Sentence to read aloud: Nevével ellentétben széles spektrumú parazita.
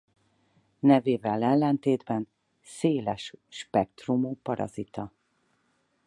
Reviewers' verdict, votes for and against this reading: accepted, 4, 0